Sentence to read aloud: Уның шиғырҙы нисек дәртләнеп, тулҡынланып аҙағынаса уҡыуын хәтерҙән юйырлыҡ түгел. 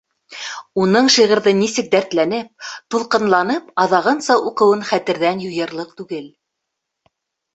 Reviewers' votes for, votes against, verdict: 2, 0, accepted